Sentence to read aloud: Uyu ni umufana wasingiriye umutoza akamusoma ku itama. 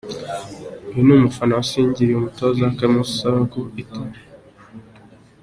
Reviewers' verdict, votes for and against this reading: rejected, 1, 2